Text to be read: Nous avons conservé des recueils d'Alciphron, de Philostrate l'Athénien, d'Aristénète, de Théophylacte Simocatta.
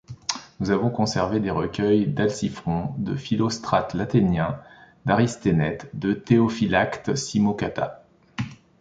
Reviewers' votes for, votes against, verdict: 2, 0, accepted